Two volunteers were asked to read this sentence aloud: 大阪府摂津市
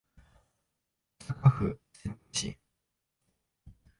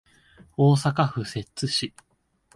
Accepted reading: second